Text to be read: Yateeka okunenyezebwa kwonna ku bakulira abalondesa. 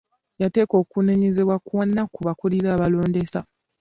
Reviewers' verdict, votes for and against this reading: accepted, 2, 0